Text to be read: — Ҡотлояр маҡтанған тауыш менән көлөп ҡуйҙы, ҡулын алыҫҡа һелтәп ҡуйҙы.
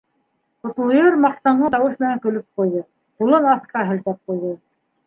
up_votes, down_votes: 1, 2